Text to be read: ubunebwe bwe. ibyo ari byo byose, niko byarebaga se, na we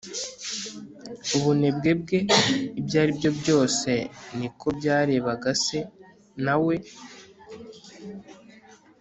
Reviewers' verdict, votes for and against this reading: rejected, 1, 2